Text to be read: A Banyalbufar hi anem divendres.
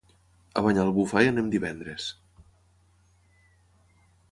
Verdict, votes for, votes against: accepted, 3, 0